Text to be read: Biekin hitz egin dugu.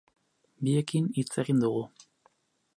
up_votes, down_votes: 4, 0